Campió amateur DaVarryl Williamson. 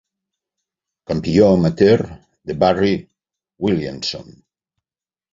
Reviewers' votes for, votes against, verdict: 3, 1, accepted